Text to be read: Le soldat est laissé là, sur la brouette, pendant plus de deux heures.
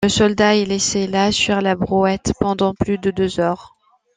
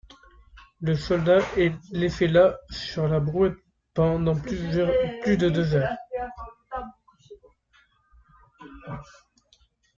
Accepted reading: first